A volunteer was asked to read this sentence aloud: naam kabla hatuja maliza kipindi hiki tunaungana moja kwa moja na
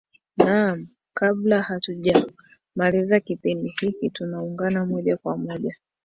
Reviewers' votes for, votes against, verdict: 0, 2, rejected